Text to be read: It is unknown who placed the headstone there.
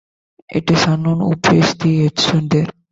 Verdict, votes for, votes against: rejected, 0, 2